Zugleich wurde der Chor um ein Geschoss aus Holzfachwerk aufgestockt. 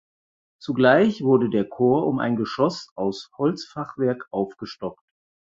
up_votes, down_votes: 4, 0